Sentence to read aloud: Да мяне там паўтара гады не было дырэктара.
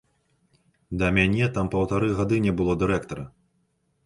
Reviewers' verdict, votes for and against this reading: rejected, 1, 2